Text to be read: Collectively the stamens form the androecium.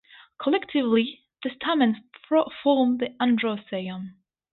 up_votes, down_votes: 2, 2